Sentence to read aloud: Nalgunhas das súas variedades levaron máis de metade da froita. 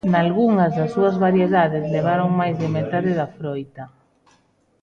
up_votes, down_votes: 2, 0